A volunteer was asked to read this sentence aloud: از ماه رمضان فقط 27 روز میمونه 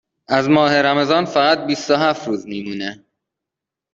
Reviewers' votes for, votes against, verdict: 0, 2, rejected